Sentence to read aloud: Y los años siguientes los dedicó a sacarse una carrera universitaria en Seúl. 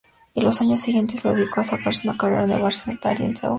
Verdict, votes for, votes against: rejected, 0, 2